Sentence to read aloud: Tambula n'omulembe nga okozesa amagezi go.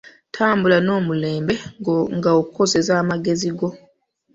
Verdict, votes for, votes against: rejected, 0, 2